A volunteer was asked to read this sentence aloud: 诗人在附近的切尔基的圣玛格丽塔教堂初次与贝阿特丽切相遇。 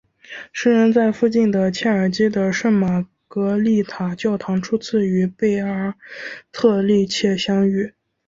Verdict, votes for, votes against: rejected, 1, 2